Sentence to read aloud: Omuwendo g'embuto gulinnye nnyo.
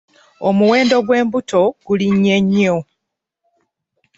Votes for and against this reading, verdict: 1, 2, rejected